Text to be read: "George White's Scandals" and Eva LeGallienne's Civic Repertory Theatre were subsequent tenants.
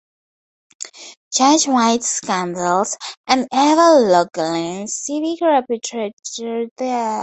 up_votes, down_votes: 0, 4